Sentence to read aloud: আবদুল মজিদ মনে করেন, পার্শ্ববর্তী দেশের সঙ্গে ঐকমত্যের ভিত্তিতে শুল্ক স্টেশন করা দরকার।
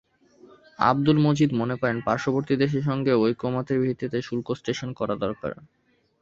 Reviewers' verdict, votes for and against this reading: accepted, 2, 0